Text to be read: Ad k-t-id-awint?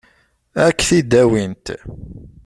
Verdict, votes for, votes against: accepted, 2, 0